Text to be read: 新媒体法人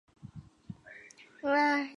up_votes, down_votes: 1, 5